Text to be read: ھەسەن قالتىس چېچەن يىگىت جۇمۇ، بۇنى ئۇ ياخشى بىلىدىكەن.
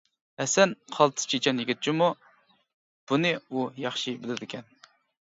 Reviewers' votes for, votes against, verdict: 2, 0, accepted